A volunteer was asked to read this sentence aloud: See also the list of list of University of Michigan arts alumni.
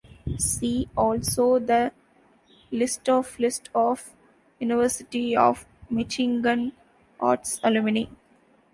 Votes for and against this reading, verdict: 1, 2, rejected